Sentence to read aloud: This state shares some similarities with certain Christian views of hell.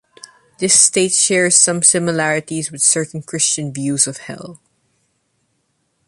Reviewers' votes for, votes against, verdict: 2, 0, accepted